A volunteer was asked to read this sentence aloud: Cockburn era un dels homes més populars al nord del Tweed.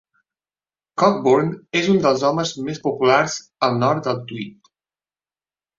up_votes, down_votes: 0, 2